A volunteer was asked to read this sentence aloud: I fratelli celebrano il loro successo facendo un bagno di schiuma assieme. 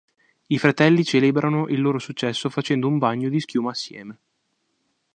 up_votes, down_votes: 2, 0